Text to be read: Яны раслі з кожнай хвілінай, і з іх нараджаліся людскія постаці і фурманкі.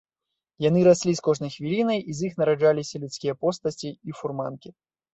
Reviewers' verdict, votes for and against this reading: accepted, 2, 1